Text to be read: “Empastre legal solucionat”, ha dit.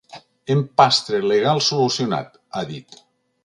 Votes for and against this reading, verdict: 3, 0, accepted